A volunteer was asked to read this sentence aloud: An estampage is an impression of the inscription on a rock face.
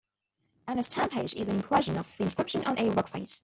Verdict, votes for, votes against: rejected, 0, 2